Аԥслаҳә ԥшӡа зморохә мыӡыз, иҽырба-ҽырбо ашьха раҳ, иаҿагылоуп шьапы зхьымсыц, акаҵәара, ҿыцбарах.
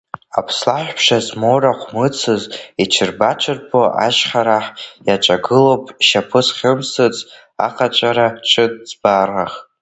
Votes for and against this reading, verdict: 1, 2, rejected